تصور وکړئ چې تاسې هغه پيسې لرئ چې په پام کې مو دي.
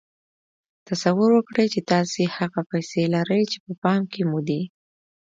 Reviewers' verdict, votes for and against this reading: accepted, 2, 0